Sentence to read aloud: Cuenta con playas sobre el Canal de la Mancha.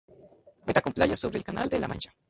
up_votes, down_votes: 2, 0